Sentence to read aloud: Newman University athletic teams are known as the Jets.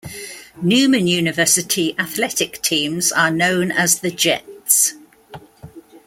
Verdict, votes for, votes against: accepted, 2, 0